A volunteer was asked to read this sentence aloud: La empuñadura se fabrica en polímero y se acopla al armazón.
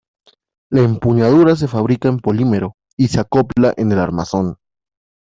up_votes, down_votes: 0, 2